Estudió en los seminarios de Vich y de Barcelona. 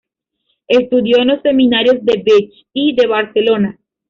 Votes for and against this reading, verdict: 2, 1, accepted